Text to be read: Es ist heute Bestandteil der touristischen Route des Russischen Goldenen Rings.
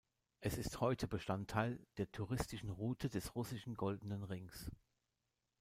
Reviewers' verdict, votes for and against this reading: rejected, 1, 2